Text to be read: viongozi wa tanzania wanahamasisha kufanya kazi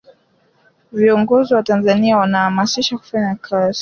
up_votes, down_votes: 2, 0